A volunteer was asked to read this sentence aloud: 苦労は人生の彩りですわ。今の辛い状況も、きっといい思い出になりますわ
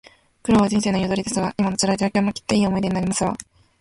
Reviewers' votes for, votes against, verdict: 2, 1, accepted